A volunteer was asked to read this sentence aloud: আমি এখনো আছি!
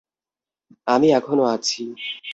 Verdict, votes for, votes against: accepted, 2, 0